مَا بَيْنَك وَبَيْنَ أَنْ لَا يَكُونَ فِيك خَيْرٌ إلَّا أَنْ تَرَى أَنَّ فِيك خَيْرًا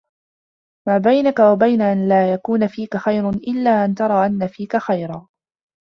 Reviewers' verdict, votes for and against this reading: rejected, 0, 3